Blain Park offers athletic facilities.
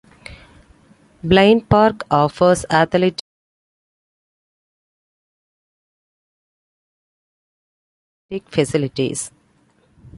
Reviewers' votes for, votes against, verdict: 1, 2, rejected